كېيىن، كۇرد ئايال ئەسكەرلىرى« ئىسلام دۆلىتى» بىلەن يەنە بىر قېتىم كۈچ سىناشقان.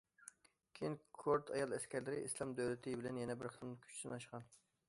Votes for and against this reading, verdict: 2, 0, accepted